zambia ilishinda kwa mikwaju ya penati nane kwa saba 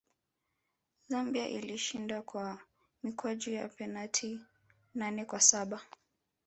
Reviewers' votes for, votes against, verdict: 1, 2, rejected